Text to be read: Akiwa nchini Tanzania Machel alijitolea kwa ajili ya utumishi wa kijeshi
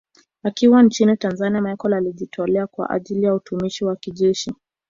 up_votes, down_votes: 2, 0